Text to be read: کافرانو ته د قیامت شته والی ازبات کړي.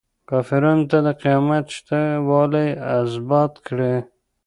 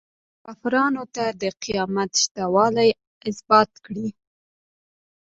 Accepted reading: second